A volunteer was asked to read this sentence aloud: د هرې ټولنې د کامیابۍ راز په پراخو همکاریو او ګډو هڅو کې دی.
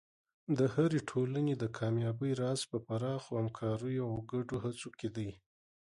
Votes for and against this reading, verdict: 0, 2, rejected